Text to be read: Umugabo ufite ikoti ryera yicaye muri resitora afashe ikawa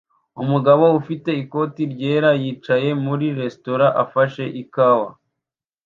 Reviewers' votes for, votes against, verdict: 2, 0, accepted